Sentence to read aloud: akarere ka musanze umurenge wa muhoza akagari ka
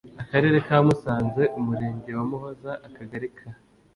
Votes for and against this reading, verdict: 2, 0, accepted